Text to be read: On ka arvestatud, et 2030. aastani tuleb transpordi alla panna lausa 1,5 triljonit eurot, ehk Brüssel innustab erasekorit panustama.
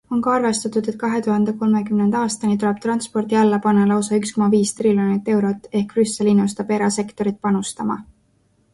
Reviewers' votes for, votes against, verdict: 0, 2, rejected